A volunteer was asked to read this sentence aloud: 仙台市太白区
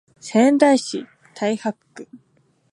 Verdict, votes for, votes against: accepted, 3, 0